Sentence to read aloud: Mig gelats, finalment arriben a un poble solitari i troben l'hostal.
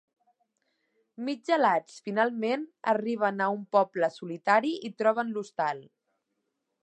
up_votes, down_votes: 2, 0